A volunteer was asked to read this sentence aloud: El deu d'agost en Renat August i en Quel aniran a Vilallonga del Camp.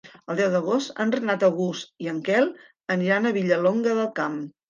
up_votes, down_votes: 2, 3